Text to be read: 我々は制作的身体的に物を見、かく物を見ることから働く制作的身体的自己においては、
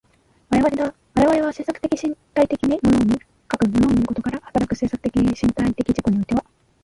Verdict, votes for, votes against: rejected, 0, 2